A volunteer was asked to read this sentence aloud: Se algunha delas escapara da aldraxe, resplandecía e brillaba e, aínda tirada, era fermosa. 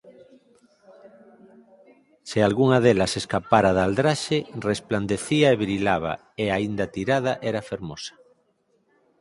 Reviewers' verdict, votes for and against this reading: rejected, 2, 4